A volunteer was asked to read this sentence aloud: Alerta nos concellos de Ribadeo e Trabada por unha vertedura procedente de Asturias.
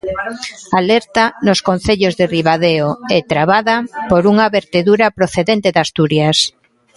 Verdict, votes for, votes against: rejected, 1, 2